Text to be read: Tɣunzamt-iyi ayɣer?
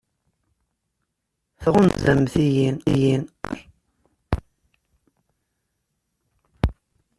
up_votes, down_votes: 0, 2